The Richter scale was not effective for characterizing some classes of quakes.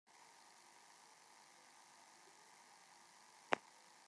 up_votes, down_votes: 0, 2